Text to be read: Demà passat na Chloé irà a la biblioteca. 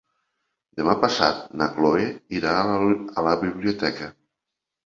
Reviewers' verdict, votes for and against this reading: rejected, 0, 2